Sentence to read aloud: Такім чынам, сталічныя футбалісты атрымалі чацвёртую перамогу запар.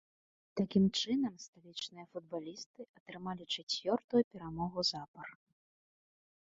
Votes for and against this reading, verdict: 1, 2, rejected